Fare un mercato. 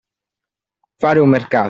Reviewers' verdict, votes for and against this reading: rejected, 0, 2